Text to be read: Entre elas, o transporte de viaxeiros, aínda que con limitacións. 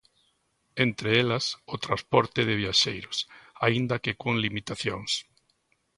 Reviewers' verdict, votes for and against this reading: accepted, 2, 0